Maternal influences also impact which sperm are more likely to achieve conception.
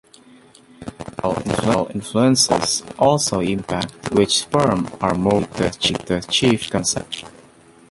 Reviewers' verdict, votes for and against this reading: rejected, 0, 2